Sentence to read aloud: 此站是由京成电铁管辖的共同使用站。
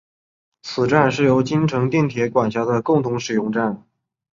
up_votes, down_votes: 3, 0